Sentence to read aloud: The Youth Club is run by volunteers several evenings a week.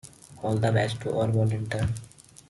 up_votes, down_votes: 0, 2